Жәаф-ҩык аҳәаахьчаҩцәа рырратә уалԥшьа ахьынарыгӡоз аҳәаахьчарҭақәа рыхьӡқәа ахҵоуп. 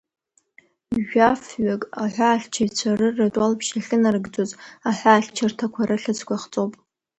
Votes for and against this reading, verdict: 2, 1, accepted